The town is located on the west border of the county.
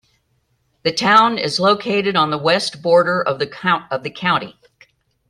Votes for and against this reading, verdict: 0, 2, rejected